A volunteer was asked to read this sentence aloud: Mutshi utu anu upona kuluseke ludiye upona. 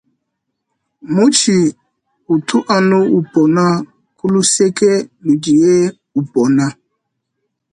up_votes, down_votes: 2, 0